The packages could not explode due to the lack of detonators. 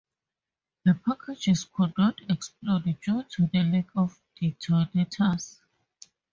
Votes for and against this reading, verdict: 2, 2, rejected